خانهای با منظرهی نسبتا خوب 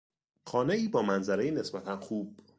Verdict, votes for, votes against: rejected, 1, 2